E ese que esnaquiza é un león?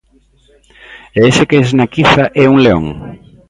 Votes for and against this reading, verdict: 2, 0, accepted